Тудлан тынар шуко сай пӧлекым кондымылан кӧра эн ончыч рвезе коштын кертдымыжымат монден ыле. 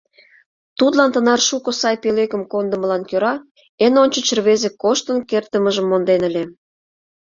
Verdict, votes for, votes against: rejected, 0, 2